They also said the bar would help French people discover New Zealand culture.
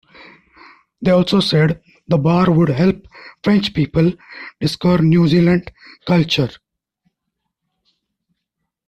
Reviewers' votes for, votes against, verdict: 1, 2, rejected